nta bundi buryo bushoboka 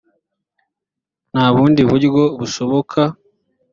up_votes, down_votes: 3, 0